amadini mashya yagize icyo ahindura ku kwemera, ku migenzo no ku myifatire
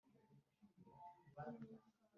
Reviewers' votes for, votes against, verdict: 0, 2, rejected